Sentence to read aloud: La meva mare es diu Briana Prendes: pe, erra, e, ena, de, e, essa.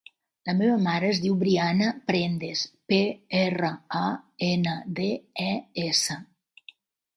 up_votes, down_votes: 1, 2